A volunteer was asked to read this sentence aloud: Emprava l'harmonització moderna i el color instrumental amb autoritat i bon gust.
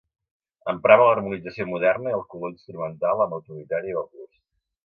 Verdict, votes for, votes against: accepted, 2, 1